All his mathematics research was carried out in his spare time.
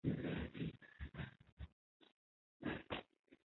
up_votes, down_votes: 0, 2